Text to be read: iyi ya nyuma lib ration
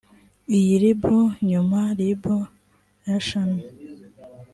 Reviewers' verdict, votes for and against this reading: rejected, 1, 2